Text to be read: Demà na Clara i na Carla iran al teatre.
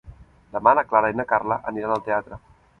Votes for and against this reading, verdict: 0, 2, rejected